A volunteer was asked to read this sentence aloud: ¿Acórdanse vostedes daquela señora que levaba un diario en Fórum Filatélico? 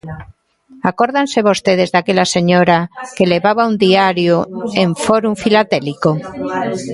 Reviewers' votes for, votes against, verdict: 2, 1, accepted